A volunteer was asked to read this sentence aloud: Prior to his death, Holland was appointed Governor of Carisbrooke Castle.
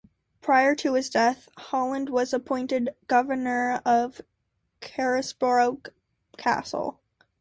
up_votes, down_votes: 2, 0